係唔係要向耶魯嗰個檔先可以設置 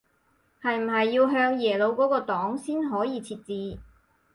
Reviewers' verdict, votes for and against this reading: accepted, 4, 0